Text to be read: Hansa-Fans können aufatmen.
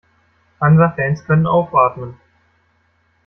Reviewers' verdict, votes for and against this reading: accepted, 2, 0